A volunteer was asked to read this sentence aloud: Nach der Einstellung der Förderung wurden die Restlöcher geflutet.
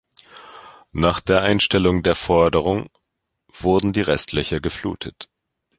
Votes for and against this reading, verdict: 0, 2, rejected